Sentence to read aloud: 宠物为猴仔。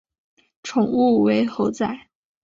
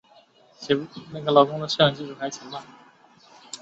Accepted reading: first